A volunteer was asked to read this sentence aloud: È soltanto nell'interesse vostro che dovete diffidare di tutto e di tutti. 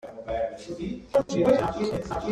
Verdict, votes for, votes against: rejected, 0, 2